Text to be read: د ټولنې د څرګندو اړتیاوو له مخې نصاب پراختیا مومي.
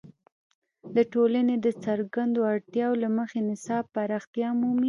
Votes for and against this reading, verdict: 2, 0, accepted